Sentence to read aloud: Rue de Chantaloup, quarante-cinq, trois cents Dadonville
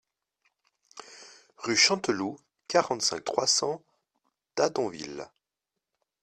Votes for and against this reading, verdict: 0, 2, rejected